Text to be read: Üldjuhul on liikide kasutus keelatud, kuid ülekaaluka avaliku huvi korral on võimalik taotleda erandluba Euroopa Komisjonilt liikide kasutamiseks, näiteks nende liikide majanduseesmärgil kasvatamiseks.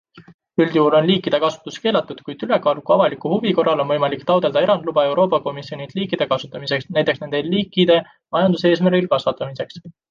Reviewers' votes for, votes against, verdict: 2, 1, accepted